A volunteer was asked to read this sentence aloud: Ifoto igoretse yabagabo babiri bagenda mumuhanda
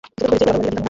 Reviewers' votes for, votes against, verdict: 0, 2, rejected